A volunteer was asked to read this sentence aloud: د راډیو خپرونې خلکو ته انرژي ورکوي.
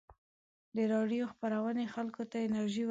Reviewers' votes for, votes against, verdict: 1, 2, rejected